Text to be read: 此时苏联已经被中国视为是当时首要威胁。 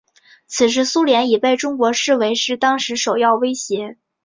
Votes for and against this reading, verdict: 3, 0, accepted